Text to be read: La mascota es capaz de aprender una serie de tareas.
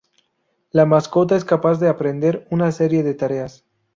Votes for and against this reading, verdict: 2, 0, accepted